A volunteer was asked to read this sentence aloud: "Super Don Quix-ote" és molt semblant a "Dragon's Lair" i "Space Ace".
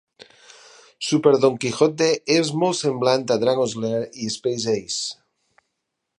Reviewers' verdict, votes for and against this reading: rejected, 4, 6